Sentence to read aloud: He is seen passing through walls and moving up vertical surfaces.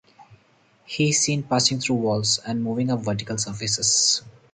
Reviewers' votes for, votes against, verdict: 4, 0, accepted